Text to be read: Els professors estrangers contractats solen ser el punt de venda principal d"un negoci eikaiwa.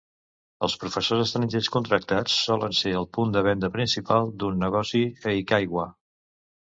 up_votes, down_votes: 2, 0